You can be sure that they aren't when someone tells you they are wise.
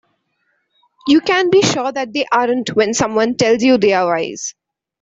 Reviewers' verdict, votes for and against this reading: accepted, 2, 0